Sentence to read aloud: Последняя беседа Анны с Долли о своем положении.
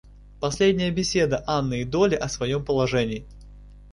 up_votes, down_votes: 0, 2